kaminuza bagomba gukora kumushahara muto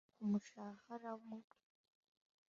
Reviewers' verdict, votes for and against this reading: rejected, 0, 2